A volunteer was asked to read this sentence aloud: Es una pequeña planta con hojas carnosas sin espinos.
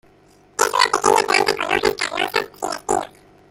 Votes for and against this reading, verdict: 0, 2, rejected